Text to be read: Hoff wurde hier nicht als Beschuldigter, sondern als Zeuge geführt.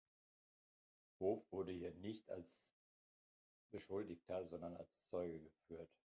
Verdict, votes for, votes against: rejected, 0, 2